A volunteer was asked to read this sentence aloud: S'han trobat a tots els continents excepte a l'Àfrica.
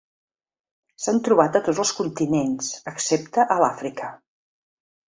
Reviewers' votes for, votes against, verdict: 3, 0, accepted